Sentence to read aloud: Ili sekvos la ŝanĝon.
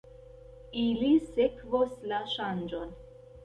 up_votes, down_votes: 0, 2